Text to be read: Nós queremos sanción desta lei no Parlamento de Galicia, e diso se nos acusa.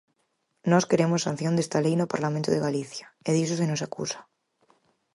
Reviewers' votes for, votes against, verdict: 4, 0, accepted